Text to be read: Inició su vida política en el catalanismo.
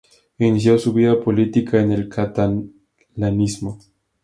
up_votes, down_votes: 2, 0